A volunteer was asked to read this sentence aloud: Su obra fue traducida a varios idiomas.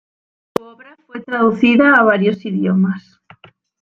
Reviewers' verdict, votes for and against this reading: rejected, 1, 2